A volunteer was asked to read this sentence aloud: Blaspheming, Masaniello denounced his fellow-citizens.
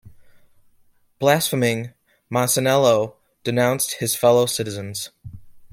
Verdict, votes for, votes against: accepted, 2, 0